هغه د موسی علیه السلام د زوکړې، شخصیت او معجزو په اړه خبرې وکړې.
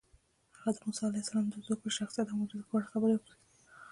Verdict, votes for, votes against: rejected, 1, 2